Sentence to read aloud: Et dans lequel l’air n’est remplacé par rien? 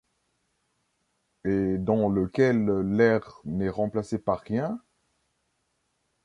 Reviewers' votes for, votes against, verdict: 1, 2, rejected